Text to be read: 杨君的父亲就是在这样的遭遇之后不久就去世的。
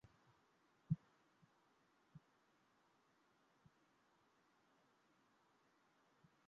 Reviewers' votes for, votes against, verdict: 3, 4, rejected